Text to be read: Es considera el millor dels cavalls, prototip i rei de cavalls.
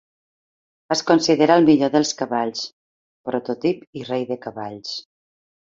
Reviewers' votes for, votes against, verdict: 2, 0, accepted